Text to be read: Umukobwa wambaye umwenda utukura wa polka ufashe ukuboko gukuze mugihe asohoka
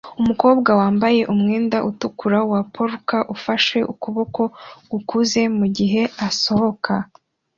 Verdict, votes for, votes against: accepted, 2, 0